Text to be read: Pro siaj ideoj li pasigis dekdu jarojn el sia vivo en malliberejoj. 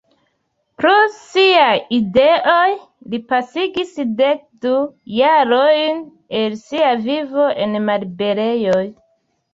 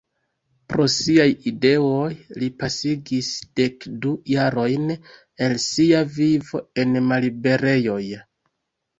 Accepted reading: first